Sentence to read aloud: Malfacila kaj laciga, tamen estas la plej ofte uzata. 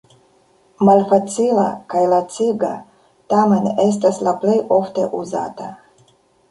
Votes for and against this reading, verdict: 2, 0, accepted